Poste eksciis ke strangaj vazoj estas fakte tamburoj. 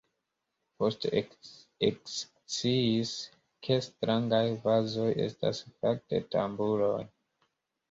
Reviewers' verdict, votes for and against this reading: accepted, 2, 1